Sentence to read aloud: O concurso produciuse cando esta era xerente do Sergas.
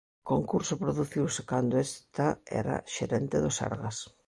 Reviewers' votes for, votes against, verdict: 0, 2, rejected